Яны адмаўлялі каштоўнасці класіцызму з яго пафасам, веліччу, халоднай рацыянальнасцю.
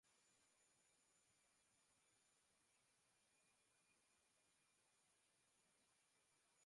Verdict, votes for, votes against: rejected, 0, 3